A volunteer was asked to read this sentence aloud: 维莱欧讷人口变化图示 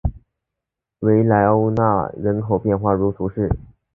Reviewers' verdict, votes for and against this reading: accepted, 2, 0